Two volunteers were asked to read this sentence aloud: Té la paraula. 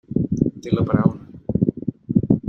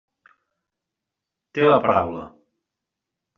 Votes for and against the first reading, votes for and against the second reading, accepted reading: 0, 2, 3, 0, second